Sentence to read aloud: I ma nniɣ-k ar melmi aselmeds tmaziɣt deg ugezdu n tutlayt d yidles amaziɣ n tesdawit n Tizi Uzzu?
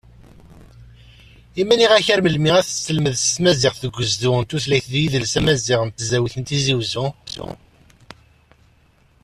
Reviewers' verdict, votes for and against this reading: accepted, 2, 0